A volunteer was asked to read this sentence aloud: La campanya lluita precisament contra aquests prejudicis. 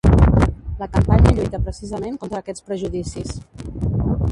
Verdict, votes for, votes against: rejected, 1, 2